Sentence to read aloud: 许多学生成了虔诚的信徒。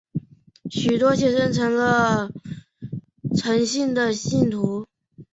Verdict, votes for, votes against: rejected, 0, 2